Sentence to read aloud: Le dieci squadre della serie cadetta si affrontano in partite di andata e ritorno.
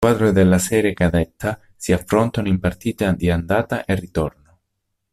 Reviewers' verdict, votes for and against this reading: rejected, 0, 2